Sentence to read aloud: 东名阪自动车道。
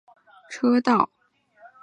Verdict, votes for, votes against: rejected, 1, 2